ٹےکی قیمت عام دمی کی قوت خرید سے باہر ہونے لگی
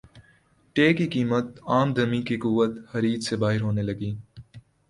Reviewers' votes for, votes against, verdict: 2, 0, accepted